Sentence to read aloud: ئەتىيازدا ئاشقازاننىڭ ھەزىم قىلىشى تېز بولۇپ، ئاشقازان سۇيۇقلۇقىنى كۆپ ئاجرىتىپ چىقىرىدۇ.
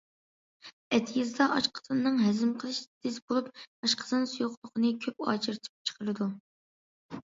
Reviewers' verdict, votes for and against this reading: rejected, 1, 2